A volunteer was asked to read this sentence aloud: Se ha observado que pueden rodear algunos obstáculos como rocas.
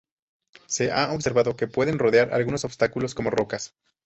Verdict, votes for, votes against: rejected, 0, 4